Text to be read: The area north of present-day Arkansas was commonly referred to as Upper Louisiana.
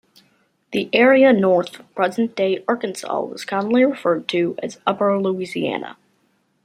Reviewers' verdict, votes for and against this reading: rejected, 1, 2